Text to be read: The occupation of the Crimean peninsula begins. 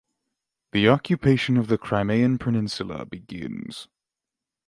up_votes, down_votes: 6, 0